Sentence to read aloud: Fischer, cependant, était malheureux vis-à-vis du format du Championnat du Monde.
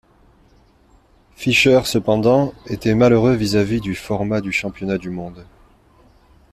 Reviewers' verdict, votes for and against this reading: accepted, 2, 0